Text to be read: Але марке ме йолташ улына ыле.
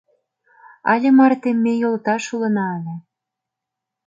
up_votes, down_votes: 0, 2